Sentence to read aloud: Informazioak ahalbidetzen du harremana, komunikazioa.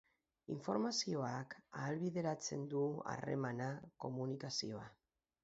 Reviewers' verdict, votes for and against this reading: rejected, 0, 2